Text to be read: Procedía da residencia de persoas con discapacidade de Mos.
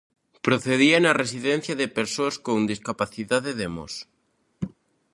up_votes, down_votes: 0, 2